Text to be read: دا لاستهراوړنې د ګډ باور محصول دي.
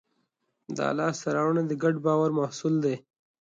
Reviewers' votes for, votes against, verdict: 3, 0, accepted